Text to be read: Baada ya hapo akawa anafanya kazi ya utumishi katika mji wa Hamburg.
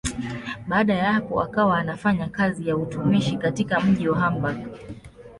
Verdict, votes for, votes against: accepted, 2, 0